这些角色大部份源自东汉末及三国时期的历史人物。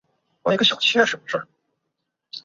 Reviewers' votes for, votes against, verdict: 0, 2, rejected